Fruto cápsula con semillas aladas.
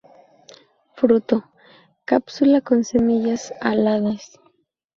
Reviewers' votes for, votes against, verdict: 4, 2, accepted